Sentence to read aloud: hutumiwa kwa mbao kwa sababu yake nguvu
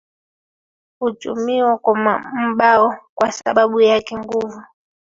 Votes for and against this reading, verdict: 0, 2, rejected